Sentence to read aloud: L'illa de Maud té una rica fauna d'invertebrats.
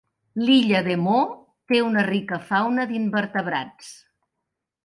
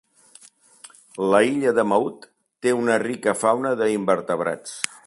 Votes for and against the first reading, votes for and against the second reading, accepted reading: 2, 0, 0, 2, first